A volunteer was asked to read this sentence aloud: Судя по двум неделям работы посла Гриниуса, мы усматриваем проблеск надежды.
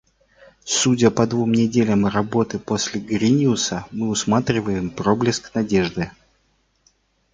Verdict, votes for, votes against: rejected, 0, 2